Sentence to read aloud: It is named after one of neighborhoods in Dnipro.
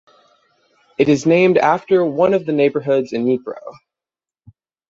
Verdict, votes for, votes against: rejected, 0, 3